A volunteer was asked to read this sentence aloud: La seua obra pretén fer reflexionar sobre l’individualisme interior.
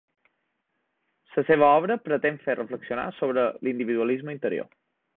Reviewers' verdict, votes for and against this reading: rejected, 0, 2